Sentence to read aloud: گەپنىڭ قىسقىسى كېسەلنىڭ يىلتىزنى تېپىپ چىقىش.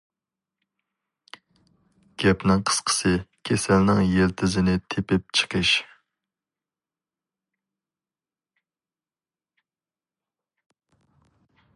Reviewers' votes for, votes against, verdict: 0, 2, rejected